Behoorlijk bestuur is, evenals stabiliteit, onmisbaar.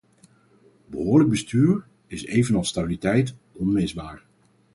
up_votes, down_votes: 2, 2